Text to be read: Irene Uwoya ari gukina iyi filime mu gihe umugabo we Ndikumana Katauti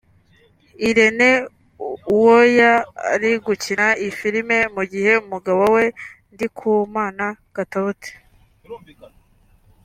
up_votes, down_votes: 1, 2